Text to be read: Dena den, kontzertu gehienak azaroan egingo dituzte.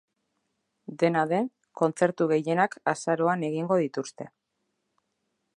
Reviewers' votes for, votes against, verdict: 1, 2, rejected